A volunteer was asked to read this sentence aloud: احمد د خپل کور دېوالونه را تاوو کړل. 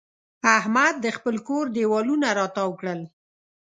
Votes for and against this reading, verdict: 2, 0, accepted